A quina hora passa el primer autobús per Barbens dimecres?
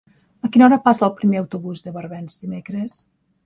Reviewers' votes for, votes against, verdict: 0, 2, rejected